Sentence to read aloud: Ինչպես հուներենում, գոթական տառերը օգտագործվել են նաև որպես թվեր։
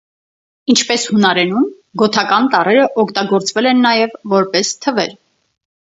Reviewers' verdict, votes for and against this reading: rejected, 2, 4